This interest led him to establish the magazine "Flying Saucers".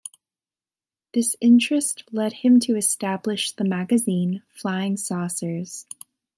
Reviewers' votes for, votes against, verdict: 2, 0, accepted